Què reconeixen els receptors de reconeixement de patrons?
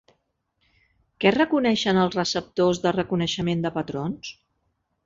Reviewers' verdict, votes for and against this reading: accepted, 3, 0